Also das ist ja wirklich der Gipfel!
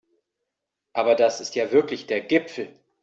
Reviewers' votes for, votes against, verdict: 0, 2, rejected